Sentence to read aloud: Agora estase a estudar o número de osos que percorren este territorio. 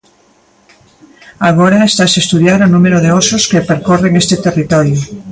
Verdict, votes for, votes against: rejected, 0, 2